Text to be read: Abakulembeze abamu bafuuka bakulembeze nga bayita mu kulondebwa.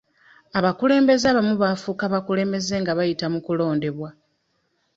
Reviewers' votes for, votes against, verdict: 2, 1, accepted